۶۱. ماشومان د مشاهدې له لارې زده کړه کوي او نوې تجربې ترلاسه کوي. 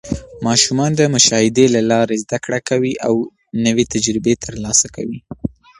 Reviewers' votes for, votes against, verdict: 0, 2, rejected